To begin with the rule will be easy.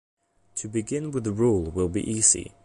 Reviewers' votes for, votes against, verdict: 2, 0, accepted